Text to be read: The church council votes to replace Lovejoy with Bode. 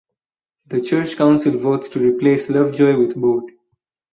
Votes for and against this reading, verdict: 2, 0, accepted